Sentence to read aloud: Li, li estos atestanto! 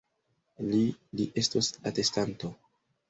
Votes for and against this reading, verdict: 1, 2, rejected